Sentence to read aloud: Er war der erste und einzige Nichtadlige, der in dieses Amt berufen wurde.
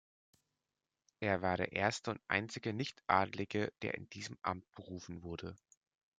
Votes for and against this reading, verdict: 0, 2, rejected